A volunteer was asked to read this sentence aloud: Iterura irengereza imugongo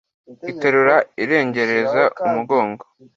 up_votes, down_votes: 2, 0